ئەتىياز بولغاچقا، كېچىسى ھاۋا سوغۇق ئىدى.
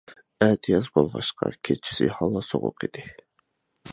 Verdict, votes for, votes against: accepted, 2, 0